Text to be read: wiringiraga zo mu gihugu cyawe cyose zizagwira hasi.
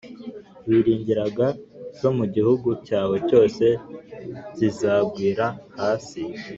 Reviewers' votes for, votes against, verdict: 2, 0, accepted